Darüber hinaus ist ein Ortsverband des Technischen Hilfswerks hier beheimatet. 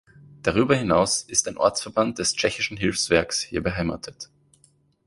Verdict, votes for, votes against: rejected, 1, 2